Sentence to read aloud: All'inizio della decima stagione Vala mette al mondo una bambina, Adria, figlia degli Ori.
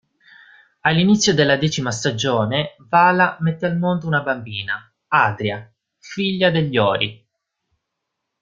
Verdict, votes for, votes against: accepted, 2, 1